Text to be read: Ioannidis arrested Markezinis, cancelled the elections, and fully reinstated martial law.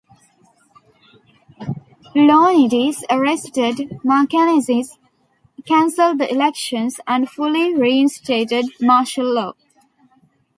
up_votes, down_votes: 0, 2